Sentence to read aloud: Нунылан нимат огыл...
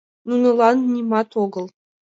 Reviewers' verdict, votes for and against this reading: accepted, 2, 0